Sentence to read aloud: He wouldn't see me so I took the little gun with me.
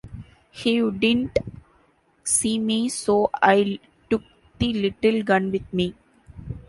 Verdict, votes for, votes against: rejected, 1, 2